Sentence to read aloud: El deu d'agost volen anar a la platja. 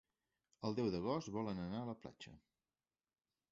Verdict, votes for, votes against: accepted, 3, 1